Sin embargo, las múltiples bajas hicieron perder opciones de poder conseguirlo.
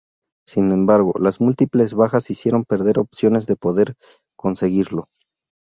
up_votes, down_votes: 0, 2